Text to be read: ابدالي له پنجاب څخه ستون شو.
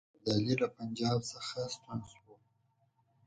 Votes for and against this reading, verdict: 2, 4, rejected